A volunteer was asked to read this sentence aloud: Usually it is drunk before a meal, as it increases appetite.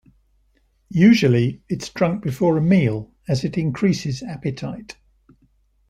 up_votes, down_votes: 1, 2